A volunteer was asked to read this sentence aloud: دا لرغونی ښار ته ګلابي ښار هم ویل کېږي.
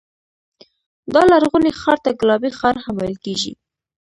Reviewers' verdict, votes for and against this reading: accepted, 2, 1